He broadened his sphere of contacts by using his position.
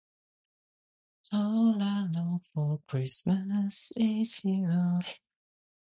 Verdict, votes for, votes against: rejected, 0, 2